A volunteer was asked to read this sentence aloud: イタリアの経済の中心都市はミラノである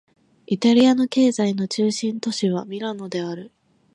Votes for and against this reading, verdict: 20, 0, accepted